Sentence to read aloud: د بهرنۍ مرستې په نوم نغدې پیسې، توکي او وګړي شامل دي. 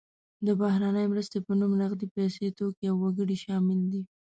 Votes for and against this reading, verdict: 2, 0, accepted